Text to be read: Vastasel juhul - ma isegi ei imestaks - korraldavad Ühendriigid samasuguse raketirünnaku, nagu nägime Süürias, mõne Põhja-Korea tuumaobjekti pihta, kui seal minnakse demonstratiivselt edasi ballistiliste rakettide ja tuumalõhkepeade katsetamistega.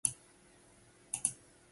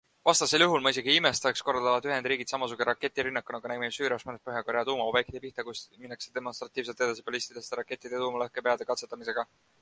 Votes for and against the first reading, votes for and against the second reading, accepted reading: 0, 2, 2, 1, second